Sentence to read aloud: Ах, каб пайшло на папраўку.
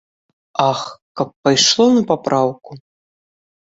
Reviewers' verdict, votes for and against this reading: accepted, 2, 0